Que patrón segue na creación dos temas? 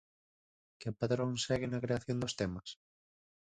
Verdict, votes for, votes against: rejected, 0, 4